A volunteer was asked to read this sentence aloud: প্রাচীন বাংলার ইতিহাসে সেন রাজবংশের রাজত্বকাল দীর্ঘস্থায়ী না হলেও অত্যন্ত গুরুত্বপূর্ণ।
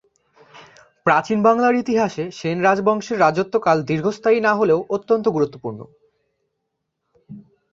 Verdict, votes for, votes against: accepted, 2, 0